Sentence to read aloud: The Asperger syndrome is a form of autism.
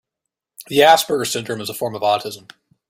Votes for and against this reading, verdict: 2, 0, accepted